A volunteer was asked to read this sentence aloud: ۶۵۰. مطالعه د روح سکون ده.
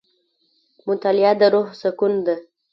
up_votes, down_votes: 0, 2